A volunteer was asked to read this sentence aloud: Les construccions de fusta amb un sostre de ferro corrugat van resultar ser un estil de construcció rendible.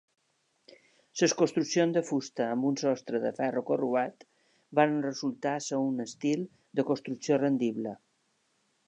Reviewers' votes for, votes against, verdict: 2, 1, accepted